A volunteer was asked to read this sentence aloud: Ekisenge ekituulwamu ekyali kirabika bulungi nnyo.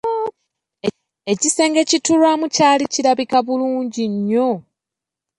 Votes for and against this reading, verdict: 1, 2, rejected